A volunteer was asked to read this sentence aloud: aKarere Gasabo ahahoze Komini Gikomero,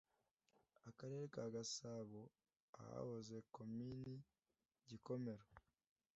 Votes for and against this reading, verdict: 1, 2, rejected